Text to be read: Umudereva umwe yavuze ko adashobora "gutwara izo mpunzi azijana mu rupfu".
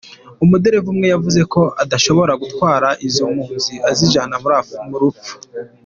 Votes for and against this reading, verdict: 2, 1, accepted